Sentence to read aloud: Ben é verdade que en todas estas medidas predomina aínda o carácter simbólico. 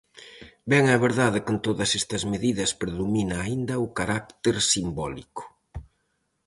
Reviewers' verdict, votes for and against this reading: accepted, 4, 0